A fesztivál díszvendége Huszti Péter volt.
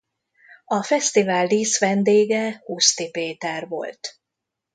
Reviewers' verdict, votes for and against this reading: accepted, 2, 0